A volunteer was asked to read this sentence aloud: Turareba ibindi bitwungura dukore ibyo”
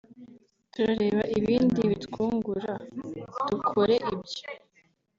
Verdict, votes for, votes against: accepted, 3, 0